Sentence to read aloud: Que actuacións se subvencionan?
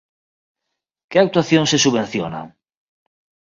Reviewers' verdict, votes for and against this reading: rejected, 0, 2